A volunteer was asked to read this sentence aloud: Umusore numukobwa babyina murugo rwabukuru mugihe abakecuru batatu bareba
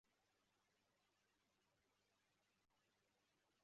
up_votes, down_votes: 0, 2